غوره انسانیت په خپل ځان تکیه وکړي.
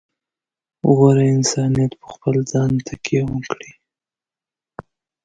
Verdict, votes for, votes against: rejected, 1, 2